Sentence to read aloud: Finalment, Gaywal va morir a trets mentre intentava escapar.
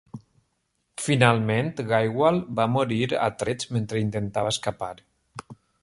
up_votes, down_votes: 2, 0